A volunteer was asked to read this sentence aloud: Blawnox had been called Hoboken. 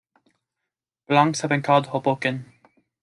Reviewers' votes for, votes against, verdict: 2, 1, accepted